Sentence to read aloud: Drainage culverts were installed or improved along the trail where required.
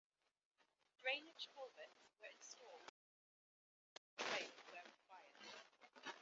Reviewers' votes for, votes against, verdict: 0, 2, rejected